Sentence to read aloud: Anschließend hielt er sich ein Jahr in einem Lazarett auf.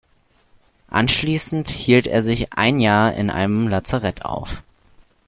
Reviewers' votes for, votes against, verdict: 2, 0, accepted